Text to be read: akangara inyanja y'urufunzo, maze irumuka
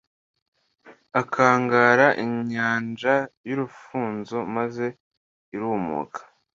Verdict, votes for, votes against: accepted, 2, 0